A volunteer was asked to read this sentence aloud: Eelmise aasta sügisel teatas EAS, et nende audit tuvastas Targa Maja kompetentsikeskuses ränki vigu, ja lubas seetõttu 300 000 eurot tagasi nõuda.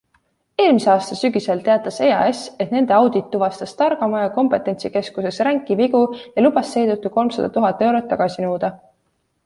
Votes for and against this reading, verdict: 0, 2, rejected